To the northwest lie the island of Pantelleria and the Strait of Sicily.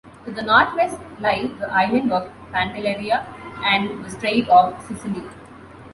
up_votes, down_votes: 2, 0